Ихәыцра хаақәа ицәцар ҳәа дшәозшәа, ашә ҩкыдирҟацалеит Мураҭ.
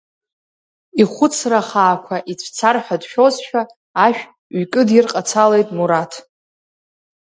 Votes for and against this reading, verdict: 2, 0, accepted